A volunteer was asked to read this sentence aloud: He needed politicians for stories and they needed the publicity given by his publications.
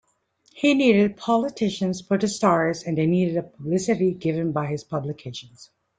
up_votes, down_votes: 2, 1